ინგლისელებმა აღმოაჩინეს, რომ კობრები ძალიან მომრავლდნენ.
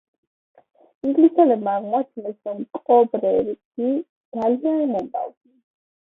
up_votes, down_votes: 1, 2